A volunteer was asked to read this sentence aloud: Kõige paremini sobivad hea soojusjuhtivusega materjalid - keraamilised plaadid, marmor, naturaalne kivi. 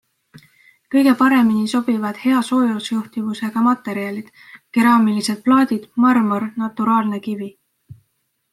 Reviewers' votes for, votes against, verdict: 2, 0, accepted